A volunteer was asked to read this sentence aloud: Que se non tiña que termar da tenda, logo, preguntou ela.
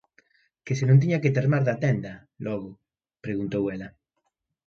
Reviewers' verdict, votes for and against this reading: accepted, 2, 0